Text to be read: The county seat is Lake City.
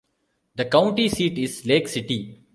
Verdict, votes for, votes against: rejected, 1, 2